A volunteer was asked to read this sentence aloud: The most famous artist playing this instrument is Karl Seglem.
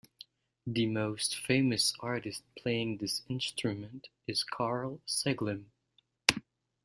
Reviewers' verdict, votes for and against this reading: accepted, 2, 0